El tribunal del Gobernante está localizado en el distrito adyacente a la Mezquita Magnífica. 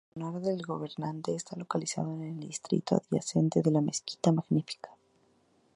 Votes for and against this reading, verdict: 0, 2, rejected